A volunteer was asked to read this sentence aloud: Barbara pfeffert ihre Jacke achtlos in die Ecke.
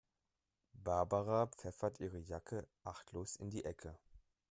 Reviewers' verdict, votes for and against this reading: accepted, 3, 0